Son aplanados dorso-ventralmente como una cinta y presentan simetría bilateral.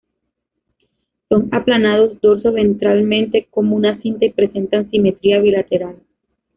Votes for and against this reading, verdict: 2, 1, accepted